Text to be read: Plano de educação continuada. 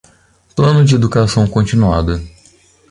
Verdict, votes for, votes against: accepted, 3, 0